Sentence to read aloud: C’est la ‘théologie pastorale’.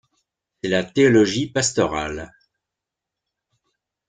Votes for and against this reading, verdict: 1, 2, rejected